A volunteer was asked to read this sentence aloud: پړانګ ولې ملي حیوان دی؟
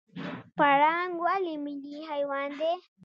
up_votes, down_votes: 1, 2